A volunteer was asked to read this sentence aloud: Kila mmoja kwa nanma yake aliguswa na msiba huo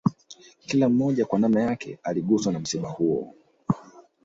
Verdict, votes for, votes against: accepted, 2, 0